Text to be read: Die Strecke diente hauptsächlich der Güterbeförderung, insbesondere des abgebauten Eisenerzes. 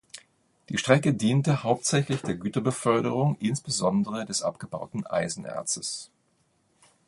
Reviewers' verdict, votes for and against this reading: accepted, 2, 0